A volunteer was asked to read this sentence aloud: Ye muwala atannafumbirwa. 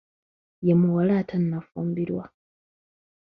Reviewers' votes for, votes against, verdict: 3, 0, accepted